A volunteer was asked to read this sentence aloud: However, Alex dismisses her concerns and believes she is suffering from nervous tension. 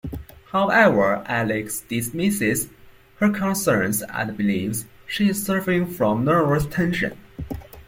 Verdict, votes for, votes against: accepted, 2, 0